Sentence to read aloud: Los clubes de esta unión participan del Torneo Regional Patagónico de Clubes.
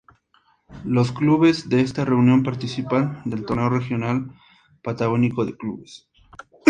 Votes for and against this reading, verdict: 0, 2, rejected